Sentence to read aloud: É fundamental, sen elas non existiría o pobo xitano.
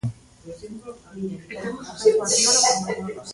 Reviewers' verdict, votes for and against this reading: rejected, 0, 2